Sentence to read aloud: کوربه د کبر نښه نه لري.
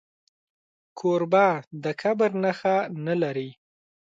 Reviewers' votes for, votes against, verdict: 2, 0, accepted